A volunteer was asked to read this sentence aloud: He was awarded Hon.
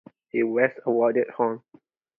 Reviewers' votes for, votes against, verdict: 4, 0, accepted